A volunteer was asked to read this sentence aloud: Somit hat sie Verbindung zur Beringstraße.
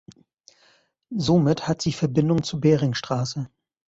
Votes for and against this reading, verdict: 2, 0, accepted